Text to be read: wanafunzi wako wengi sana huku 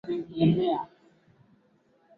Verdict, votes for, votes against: rejected, 0, 2